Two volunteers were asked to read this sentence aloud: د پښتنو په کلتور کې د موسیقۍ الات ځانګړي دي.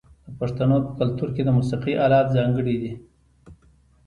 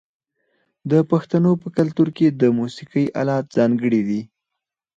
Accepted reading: first